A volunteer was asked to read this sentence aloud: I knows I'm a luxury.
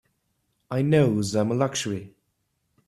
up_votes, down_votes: 2, 0